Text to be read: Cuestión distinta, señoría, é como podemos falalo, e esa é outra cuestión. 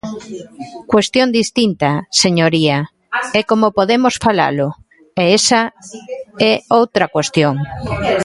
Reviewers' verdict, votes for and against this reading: rejected, 1, 2